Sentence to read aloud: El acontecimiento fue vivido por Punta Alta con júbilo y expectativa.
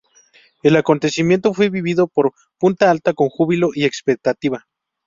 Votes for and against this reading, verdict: 2, 0, accepted